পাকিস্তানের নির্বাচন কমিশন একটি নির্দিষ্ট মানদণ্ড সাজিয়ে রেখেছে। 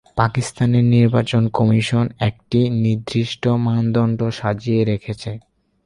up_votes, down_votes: 8, 0